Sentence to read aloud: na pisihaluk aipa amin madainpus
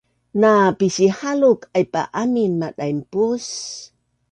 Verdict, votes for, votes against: accepted, 2, 0